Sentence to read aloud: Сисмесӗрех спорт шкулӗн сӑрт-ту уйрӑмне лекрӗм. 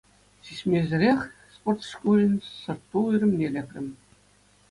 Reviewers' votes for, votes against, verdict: 2, 0, accepted